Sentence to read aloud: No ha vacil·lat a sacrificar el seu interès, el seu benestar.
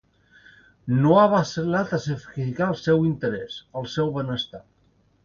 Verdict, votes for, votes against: rejected, 1, 2